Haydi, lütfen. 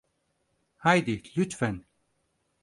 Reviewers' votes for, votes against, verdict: 4, 0, accepted